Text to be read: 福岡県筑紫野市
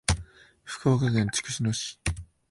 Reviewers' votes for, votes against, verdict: 0, 2, rejected